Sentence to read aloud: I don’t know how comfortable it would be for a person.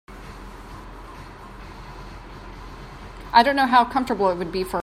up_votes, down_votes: 0, 2